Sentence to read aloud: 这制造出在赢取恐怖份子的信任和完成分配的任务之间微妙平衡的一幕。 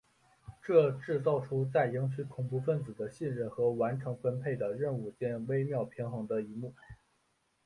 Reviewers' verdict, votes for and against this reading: rejected, 1, 2